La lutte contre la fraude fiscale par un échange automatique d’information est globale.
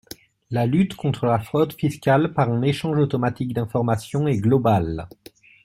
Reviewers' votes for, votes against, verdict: 2, 0, accepted